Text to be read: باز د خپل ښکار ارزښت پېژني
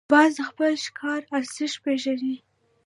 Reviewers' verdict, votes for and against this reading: accepted, 2, 0